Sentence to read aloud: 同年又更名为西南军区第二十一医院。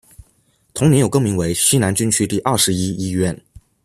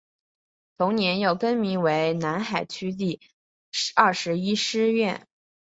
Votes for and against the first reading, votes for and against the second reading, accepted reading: 2, 0, 1, 2, first